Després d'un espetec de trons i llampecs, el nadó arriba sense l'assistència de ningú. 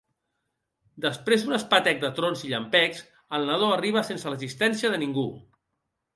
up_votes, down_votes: 2, 0